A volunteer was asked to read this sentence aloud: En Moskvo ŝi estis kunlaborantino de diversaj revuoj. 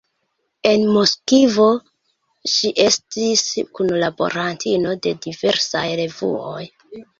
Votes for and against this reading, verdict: 0, 2, rejected